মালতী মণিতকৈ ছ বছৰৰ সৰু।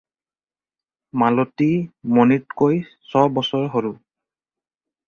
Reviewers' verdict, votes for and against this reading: rejected, 0, 4